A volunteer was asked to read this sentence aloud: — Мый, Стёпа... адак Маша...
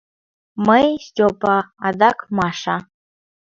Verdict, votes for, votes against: accepted, 2, 0